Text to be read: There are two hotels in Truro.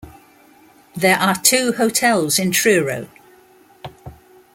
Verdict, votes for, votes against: accepted, 2, 1